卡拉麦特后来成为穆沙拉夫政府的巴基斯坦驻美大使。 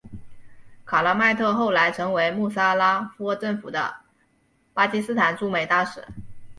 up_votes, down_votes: 0, 2